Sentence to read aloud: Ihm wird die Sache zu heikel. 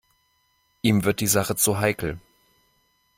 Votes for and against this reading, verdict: 2, 0, accepted